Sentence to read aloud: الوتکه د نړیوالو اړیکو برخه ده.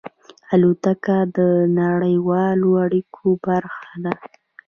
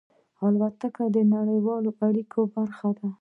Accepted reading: first